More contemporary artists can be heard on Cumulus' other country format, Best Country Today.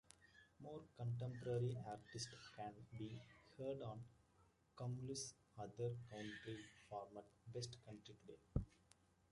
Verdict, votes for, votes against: accepted, 2, 1